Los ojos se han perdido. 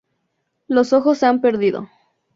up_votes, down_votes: 2, 0